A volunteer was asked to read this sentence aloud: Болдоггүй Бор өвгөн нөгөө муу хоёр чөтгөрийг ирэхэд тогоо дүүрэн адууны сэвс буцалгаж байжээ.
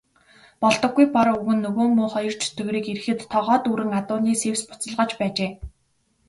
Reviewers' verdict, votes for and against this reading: rejected, 1, 2